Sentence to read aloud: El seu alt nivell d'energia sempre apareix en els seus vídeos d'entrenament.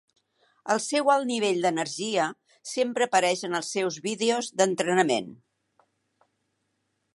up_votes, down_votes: 3, 0